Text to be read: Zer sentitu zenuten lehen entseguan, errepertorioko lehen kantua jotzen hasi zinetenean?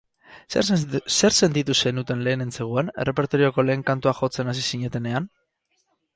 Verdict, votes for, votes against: rejected, 0, 4